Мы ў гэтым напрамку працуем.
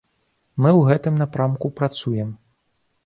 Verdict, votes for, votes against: accepted, 2, 1